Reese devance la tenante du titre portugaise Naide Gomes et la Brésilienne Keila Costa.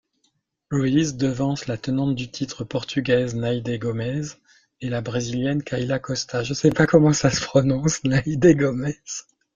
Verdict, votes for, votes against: rejected, 1, 2